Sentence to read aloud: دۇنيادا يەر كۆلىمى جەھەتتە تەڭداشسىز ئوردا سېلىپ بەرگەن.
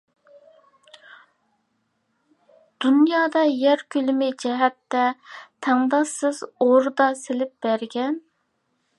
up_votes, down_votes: 2, 0